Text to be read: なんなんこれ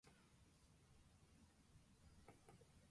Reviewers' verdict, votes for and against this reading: rejected, 0, 3